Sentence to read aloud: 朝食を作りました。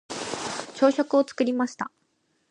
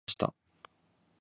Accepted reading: first